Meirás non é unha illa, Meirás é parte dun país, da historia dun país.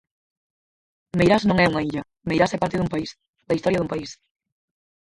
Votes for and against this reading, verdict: 0, 4, rejected